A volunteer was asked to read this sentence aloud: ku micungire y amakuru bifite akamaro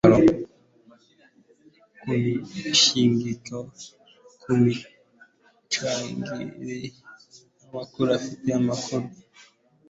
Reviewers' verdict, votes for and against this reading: rejected, 0, 2